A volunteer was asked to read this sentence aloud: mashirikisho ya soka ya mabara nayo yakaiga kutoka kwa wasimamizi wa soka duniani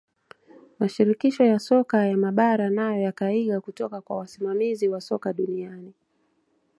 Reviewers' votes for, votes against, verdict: 2, 0, accepted